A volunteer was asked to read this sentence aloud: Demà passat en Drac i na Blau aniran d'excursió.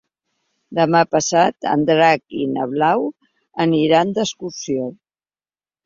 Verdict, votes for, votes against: accepted, 3, 0